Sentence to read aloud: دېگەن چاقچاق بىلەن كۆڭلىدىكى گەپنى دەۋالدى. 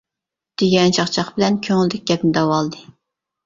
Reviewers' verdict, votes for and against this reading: accepted, 2, 0